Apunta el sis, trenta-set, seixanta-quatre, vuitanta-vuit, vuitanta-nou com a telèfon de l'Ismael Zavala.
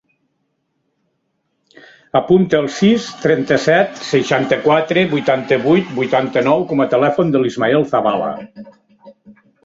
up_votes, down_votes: 1, 2